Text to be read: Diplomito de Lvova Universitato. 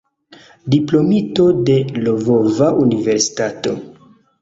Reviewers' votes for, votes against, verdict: 2, 0, accepted